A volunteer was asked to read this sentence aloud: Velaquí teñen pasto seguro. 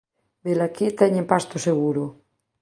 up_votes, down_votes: 2, 0